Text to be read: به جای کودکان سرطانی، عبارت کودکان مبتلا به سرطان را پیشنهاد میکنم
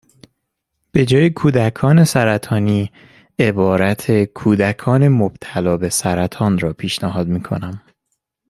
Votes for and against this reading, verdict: 2, 0, accepted